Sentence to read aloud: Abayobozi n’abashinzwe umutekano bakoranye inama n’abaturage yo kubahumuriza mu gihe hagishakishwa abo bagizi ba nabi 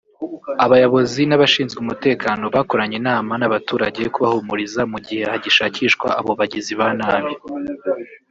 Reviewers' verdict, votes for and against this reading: rejected, 1, 2